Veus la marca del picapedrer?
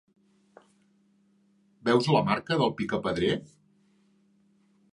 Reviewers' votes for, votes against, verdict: 3, 0, accepted